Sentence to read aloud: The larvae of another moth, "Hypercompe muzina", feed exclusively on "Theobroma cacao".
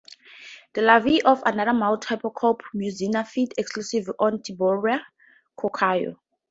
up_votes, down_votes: 0, 2